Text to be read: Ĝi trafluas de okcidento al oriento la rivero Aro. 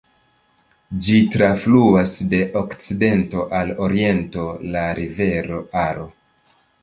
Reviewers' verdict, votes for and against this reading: accepted, 2, 0